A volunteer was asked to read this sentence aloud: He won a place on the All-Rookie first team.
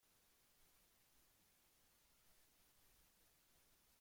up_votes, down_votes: 0, 2